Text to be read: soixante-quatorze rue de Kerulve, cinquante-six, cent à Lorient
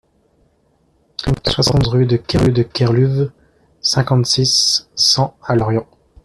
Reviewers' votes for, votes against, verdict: 0, 2, rejected